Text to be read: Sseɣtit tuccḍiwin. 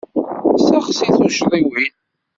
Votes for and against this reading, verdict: 0, 2, rejected